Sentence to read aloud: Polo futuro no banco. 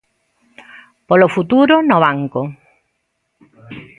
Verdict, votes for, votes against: accepted, 2, 0